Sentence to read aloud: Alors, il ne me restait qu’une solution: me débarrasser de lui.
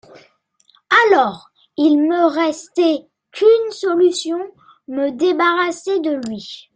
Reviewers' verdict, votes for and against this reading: rejected, 1, 2